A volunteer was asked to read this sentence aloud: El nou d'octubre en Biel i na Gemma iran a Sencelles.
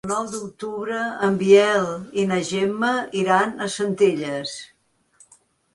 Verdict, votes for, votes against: rejected, 0, 2